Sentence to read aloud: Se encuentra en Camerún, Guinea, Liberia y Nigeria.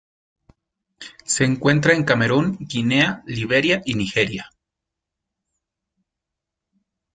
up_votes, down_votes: 2, 0